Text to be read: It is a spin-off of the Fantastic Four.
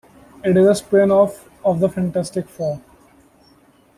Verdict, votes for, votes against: accepted, 2, 0